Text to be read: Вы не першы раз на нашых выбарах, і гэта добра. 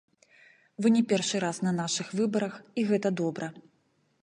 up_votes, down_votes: 2, 0